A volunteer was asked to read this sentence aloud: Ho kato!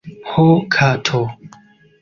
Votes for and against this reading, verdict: 2, 0, accepted